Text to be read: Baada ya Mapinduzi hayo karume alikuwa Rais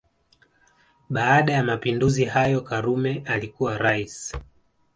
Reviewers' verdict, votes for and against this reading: accepted, 2, 0